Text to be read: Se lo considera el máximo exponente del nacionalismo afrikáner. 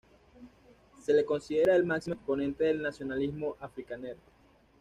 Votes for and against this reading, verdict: 1, 2, rejected